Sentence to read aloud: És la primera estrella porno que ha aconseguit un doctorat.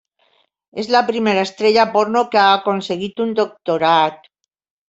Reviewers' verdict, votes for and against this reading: accepted, 3, 0